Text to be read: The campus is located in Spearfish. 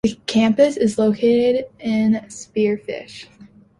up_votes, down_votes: 2, 1